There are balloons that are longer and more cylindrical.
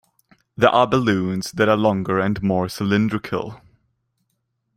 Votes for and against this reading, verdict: 2, 0, accepted